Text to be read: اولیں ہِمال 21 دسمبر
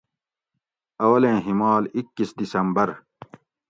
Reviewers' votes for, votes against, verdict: 0, 2, rejected